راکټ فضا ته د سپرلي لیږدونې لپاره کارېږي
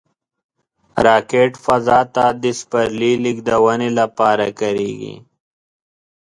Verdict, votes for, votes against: accepted, 2, 1